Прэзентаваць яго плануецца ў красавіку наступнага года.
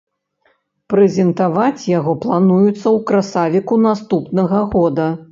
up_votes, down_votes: 0, 2